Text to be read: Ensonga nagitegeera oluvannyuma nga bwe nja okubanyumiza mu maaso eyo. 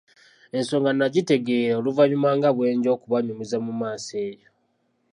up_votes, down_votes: 2, 0